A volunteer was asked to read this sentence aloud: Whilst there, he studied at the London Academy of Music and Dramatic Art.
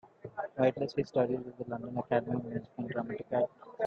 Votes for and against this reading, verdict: 0, 2, rejected